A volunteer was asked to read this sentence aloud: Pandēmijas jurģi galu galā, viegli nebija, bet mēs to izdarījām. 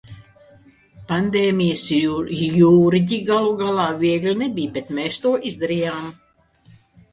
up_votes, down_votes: 0, 2